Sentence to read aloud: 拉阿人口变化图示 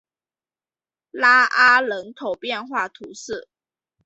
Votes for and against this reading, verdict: 2, 0, accepted